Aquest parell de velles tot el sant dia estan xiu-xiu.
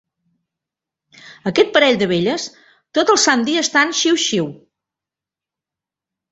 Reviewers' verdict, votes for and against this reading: accepted, 2, 0